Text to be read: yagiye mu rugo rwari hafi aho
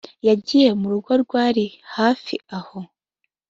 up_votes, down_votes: 2, 0